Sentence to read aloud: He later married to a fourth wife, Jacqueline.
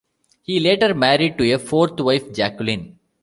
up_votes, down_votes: 0, 2